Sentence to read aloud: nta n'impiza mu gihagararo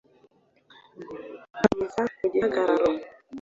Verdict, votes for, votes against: accepted, 2, 1